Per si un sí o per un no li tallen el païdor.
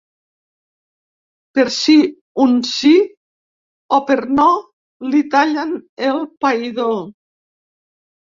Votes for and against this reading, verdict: 0, 3, rejected